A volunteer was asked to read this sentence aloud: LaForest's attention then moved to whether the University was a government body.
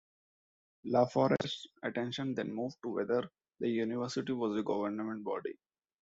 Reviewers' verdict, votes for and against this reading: rejected, 0, 2